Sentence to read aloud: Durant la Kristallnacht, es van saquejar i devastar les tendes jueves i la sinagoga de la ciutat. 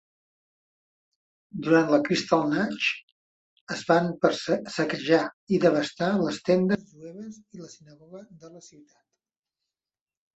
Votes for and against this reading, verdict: 0, 3, rejected